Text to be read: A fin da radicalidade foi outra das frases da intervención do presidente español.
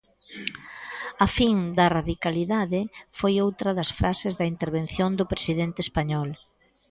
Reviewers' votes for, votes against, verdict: 2, 0, accepted